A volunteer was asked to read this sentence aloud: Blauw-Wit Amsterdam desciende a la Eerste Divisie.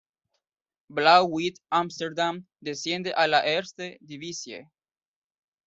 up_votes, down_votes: 2, 0